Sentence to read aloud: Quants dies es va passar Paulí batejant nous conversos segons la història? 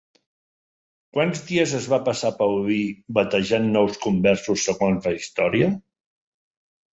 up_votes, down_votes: 3, 0